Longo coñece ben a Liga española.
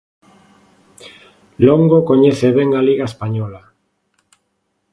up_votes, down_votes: 2, 0